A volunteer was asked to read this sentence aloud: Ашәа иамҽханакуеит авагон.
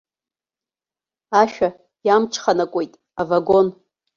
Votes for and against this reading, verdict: 2, 0, accepted